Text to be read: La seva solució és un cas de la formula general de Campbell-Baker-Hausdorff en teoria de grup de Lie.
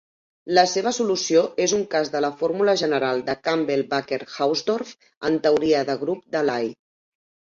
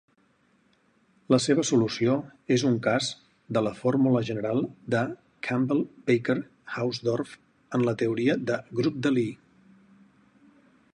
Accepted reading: first